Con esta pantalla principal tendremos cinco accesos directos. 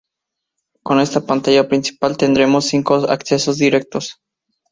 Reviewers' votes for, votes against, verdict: 2, 0, accepted